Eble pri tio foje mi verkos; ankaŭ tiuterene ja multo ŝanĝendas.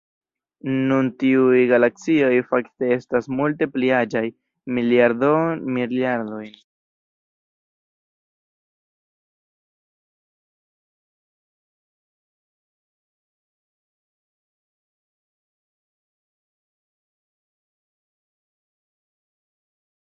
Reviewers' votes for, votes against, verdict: 1, 2, rejected